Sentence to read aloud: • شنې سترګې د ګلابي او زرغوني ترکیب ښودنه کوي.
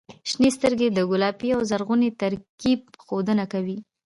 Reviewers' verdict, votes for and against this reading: accepted, 2, 1